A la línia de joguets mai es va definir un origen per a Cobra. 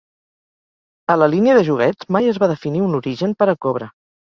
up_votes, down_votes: 3, 0